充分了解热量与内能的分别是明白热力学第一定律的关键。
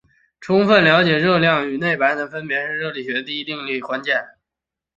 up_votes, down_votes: 2, 0